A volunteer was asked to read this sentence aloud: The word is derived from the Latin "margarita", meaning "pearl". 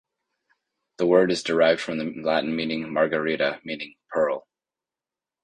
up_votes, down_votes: 1, 2